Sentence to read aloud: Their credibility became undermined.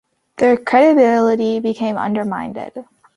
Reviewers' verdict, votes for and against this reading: rejected, 0, 2